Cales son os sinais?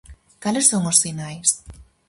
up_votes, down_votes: 4, 0